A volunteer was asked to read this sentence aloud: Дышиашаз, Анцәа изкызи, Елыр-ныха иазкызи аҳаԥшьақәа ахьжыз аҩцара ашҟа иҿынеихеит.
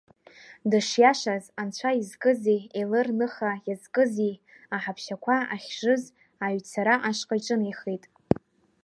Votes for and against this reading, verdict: 2, 0, accepted